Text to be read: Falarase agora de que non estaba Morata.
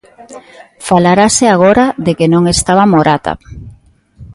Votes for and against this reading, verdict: 2, 0, accepted